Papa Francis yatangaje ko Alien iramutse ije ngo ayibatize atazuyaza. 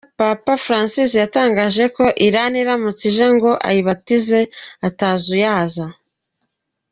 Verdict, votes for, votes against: rejected, 0, 2